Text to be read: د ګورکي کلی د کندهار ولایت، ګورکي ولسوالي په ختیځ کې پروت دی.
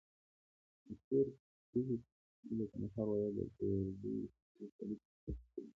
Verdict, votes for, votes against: rejected, 0, 2